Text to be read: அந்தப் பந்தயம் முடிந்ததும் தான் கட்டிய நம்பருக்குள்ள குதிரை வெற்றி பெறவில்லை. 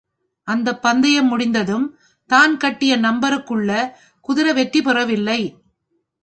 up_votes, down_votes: 2, 0